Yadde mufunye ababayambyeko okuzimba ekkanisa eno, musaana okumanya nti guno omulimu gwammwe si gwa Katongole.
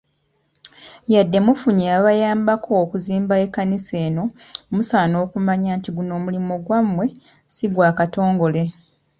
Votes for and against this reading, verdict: 0, 2, rejected